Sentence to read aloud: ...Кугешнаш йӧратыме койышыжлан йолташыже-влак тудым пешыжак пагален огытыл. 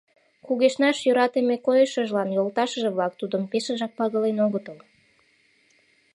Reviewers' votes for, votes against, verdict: 2, 0, accepted